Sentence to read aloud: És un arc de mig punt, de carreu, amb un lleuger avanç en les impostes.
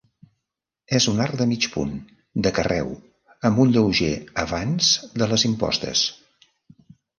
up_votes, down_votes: 1, 2